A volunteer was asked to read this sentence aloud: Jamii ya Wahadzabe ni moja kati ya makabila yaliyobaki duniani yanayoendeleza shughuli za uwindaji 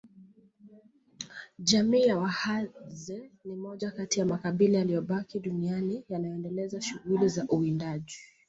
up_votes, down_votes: 2, 0